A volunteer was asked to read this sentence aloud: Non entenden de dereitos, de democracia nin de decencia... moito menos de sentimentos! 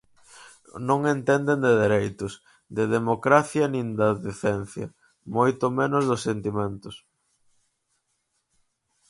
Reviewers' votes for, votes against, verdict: 2, 4, rejected